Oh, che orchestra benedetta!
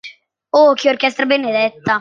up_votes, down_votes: 1, 2